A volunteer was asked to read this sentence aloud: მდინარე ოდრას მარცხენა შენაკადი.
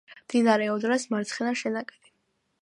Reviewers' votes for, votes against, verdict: 2, 0, accepted